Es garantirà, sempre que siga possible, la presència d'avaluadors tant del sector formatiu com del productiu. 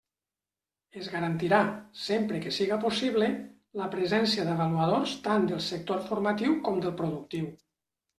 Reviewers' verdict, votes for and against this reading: accepted, 3, 0